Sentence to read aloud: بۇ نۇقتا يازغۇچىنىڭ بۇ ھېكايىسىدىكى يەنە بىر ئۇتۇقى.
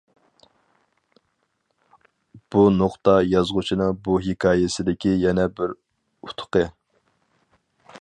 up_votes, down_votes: 4, 0